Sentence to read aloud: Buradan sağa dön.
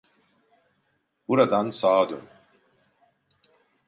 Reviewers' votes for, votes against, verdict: 2, 0, accepted